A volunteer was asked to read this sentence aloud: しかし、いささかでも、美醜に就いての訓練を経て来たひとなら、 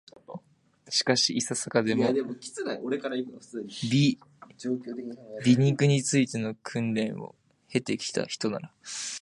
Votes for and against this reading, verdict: 0, 2, rejected